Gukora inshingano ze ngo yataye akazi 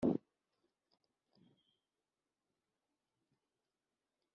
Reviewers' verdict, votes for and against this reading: rejected, 0, 3